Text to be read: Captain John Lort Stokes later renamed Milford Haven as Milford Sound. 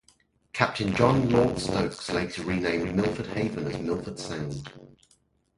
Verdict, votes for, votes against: rejected, 0, 2